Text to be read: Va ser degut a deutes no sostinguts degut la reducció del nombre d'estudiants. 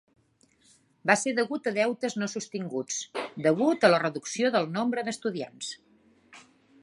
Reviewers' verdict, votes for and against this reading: rejected, 0, 2